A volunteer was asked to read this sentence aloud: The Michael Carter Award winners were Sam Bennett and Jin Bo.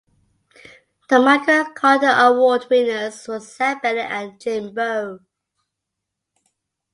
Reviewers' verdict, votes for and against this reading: accepted, 2, 0